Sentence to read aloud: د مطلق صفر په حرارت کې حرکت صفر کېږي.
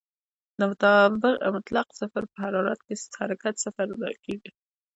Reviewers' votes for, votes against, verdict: 0, 2, rejected